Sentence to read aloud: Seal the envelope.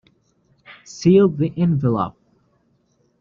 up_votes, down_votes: 0, 2